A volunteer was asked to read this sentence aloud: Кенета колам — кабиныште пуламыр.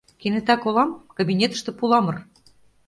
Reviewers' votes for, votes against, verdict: 0, 2, rejected